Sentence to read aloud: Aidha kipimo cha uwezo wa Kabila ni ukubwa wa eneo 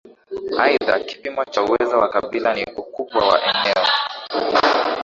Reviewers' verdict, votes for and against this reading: rejected, 4, 7